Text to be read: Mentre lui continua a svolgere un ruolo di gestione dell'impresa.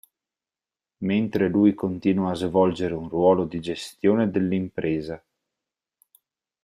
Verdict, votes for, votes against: rejected, 2, 4